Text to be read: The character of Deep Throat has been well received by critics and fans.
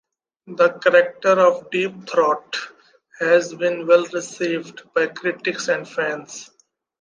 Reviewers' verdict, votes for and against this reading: accepted, 3, 0